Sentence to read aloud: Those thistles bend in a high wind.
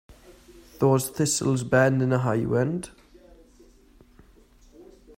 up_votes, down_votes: 2, 0